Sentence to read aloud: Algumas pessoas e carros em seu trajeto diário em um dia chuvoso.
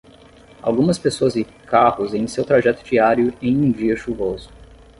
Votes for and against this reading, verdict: 5, 5, rejected